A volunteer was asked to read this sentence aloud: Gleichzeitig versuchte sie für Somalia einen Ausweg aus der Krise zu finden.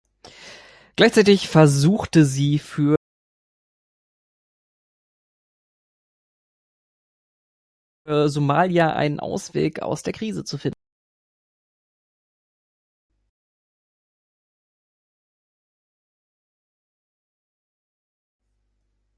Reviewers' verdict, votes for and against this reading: rejected, 0, 2